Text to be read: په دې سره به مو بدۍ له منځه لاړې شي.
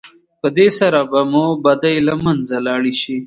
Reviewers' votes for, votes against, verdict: 2, 0, accepted